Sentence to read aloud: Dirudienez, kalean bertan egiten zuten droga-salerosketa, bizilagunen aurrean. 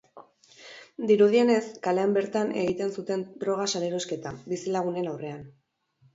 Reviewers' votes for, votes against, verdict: 2, 0, accepted